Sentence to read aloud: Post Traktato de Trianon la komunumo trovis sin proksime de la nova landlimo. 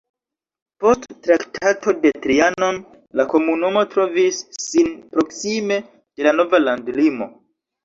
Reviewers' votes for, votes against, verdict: 1, 2, rejected